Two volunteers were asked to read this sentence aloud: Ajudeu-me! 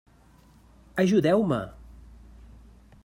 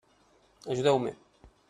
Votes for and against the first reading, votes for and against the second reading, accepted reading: 3, 0, 1, 2, first